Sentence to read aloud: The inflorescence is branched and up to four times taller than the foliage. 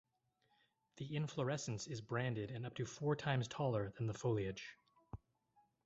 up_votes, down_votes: 0, 4